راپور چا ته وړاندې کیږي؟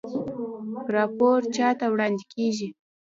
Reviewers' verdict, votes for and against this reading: rejected, 0, 2